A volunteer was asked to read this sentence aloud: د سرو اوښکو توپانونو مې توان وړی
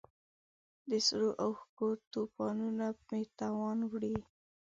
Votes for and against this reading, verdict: 1, 2, rejected